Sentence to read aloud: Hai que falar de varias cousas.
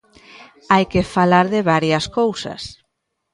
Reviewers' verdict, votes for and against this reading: rejected, 1, 2